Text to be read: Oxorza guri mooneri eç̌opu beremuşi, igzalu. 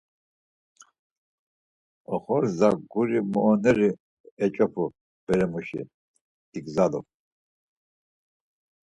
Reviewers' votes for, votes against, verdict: 4, 2, accepted